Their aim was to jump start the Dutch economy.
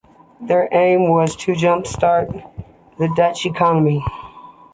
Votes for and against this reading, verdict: 2, 0, accepted